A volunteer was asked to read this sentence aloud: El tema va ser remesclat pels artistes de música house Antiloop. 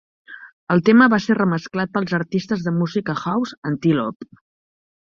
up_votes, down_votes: 2, 0